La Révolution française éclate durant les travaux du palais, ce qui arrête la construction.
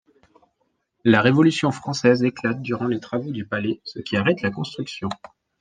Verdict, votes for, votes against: accepted, 2, 0